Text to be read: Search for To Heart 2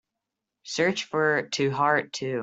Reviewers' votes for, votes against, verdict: 0, 2, rejected